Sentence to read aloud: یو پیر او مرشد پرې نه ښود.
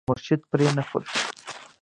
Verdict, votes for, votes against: rejected, 0, 2